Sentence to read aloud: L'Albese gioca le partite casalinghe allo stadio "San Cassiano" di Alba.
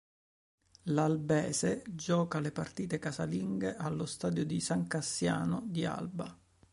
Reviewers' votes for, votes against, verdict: 1, 2, rejected